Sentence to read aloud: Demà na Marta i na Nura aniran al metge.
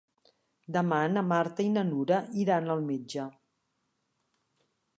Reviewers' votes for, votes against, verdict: 1, 2, rejected